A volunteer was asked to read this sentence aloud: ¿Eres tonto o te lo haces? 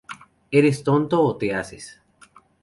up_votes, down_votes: 0, 2